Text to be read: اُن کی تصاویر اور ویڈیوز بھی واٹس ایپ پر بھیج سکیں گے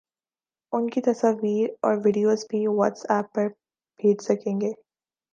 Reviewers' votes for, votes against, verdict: 2, 1, accepted